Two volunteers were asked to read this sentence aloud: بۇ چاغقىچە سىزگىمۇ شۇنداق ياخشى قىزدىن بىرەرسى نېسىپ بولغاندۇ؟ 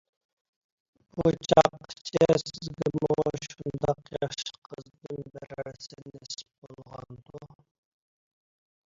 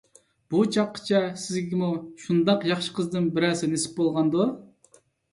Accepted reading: second